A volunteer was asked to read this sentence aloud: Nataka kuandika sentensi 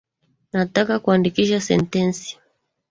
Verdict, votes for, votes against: rejected, 1, 2